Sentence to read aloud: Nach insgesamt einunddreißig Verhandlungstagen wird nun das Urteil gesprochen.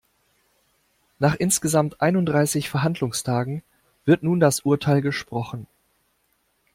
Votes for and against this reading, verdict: 2, 0, accepted